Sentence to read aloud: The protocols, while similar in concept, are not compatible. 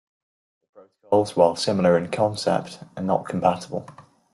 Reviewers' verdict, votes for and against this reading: rejected, 0, 2